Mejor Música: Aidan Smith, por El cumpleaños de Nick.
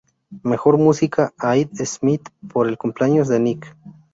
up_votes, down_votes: 0, 2